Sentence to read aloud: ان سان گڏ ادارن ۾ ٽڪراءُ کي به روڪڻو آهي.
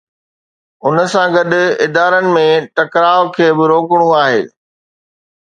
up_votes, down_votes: 2, 0